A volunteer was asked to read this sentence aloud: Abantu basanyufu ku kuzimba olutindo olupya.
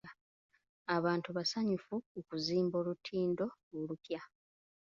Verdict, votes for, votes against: accepted, 3, 0